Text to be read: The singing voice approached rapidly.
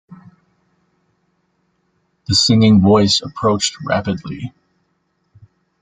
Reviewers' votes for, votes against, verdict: 1, 2, rejected